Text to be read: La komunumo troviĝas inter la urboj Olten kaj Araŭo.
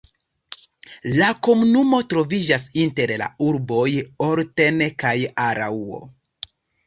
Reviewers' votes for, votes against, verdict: 2, 0, accepted